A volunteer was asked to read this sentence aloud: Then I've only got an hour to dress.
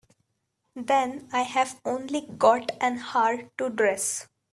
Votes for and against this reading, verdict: 2, 1, accepted